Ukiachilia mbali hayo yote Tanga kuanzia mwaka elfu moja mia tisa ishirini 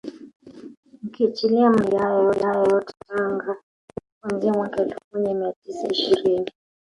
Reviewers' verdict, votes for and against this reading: rejected, 0, 3